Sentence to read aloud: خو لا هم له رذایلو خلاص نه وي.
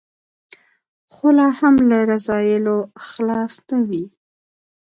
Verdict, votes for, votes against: accepted, 2, 0